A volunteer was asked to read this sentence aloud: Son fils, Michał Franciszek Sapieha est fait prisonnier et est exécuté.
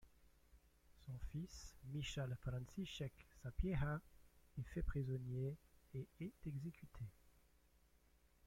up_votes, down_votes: 1, 2